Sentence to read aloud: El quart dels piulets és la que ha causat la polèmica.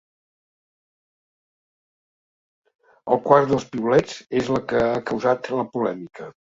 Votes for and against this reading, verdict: 3, 0, accepted